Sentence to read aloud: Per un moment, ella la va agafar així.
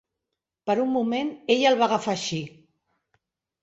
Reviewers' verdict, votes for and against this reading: rejected, 0, 2